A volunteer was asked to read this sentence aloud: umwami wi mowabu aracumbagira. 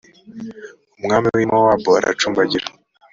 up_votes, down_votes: 2, 0